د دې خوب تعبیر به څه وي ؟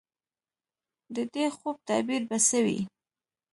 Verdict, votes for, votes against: accepted, 2, 0